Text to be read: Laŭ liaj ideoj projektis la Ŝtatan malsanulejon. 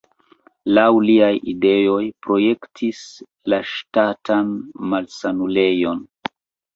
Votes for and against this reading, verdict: 2, 1, accepted